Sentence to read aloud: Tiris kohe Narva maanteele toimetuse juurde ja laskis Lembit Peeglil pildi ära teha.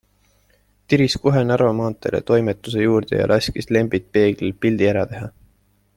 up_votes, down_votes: 2, 0